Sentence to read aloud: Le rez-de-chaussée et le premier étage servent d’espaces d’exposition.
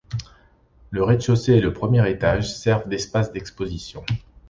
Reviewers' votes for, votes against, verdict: 2, 0, accepted